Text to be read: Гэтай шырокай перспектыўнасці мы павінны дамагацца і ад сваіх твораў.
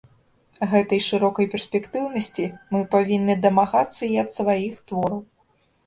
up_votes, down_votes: 2, 0